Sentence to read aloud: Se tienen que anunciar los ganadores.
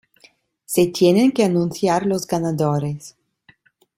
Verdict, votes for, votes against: accepted, 2, 0